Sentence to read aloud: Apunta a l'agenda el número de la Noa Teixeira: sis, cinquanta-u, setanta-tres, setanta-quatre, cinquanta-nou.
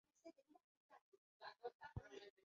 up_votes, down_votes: 0, 2